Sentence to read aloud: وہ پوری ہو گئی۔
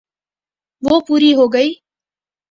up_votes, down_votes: 4, 0